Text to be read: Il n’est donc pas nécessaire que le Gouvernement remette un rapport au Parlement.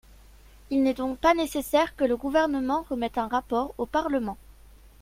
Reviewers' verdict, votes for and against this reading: accepted, 2, 0